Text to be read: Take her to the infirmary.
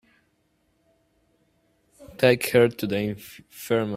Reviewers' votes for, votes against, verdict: 0, 2, rejected